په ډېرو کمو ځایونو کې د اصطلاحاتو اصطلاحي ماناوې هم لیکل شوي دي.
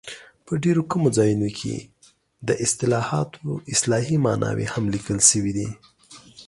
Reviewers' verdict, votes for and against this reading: accepted, 2, 0